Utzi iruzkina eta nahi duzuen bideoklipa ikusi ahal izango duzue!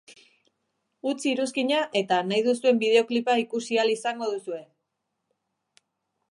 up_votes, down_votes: 2, 0